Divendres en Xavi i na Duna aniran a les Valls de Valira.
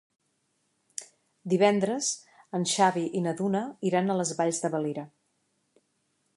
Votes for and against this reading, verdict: 0, 3, rejected